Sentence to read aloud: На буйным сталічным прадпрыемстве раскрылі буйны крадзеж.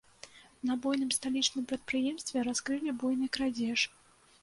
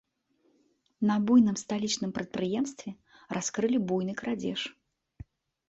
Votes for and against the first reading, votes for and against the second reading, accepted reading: 1, 2, 2, 1, second